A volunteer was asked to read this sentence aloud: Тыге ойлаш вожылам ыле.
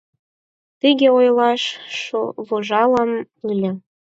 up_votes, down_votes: 2, 4